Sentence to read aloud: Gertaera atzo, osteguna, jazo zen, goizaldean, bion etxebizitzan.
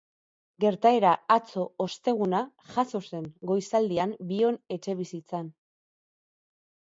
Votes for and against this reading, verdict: 2, 0, accepted